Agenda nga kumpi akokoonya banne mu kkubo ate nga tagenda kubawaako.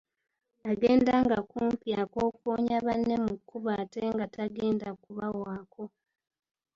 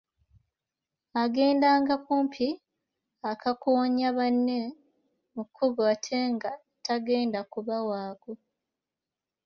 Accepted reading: first